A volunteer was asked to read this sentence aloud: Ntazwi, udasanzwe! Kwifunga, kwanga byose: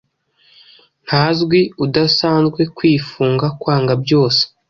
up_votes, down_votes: 2, 0